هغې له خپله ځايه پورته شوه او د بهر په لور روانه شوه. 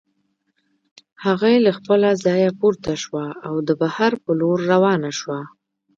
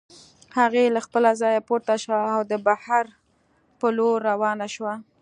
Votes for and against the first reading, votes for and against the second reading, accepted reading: 0, 2, 2, 0, second